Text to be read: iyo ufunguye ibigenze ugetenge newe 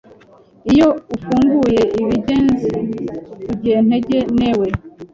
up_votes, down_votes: 0, 2